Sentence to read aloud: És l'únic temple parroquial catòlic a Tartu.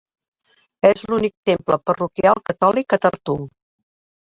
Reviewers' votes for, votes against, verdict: 3, 1, accepted